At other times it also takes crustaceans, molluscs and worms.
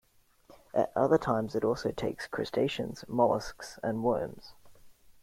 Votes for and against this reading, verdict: 2, 0, accepted